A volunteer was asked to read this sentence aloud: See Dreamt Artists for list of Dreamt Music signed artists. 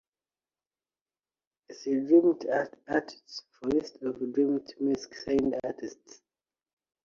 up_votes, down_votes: 1, 2